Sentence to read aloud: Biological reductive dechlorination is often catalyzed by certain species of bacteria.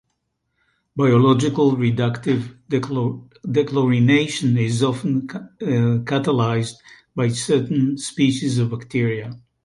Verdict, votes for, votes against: rejected, 1, 2